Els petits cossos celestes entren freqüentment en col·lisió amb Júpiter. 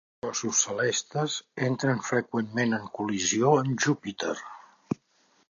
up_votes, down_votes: 0, 2